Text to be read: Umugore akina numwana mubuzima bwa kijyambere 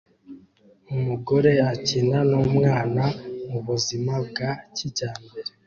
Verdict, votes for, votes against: accepted, 2, 0